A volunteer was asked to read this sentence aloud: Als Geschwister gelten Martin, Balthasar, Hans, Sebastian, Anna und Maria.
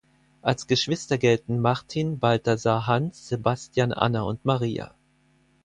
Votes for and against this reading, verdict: 4, 0, accepted